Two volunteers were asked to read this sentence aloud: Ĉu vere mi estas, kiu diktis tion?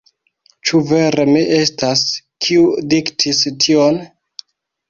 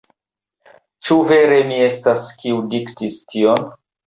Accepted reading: second